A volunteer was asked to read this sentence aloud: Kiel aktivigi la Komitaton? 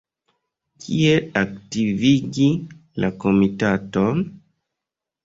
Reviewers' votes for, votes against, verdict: 2, 3, rejected